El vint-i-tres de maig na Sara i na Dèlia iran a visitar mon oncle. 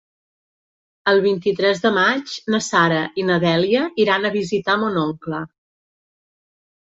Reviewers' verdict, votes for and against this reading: accepted, 3, 0